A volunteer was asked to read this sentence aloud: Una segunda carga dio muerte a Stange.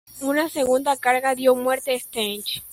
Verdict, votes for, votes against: rejected, 1, 2